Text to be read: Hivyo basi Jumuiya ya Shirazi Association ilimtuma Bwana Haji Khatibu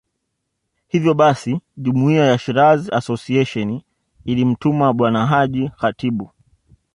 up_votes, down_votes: 2, 0